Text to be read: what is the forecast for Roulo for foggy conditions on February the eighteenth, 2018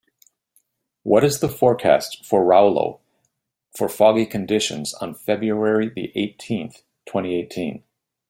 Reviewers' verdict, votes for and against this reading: rejected, 0, 2